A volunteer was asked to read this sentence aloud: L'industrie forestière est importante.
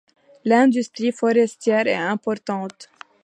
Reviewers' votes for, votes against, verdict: 2, 0, accepted